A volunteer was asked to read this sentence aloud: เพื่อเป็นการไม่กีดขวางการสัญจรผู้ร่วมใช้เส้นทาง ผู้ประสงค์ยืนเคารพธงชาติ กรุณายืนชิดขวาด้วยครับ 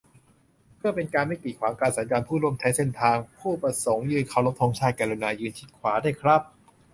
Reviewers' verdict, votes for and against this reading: accepted, 2, 0